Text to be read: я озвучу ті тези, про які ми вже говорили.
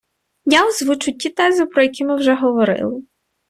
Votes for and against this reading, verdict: 2, 0, accepted